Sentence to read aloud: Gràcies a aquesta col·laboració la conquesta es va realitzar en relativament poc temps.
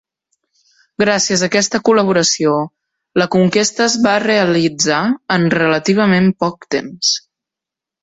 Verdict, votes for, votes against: accepted, 2, 0